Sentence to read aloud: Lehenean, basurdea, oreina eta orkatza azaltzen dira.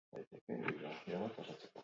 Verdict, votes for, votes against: rejected, 0, 8